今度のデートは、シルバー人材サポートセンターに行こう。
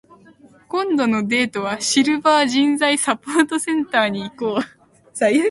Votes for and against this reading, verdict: 4, 9, rejected